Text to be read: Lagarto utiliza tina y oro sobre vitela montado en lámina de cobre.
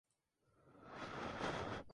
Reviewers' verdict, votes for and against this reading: rejected, 0, 2